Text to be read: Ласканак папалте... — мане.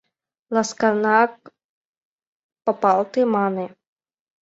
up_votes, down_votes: 1, 2